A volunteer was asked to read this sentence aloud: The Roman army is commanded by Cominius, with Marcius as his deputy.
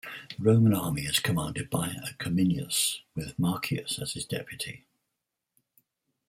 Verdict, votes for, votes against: rejected, 2, 4